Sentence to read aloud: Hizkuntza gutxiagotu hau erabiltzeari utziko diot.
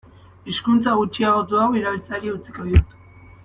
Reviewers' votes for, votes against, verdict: 2, 0, accepted